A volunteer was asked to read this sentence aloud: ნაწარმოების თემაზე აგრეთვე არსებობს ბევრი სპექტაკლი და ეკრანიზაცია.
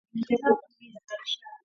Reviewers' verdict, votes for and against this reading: rejected, 0, 2